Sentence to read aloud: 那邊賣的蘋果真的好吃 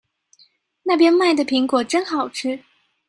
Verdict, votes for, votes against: rejected, 0, 2